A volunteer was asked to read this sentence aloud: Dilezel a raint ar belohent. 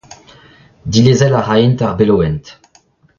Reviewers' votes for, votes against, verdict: 0, 2, rejected